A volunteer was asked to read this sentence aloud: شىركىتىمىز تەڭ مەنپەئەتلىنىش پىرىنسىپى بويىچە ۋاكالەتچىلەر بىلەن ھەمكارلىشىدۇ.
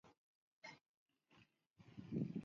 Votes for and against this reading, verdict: 0, 2, rejected